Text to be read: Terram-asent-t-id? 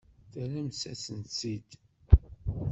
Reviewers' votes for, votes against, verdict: 1, 2, rejected